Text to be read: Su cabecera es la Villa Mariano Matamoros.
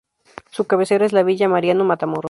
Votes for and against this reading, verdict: 4, 0, accepted